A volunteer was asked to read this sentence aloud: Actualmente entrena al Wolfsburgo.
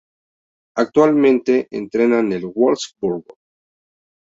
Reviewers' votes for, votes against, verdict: 0, 2, rejected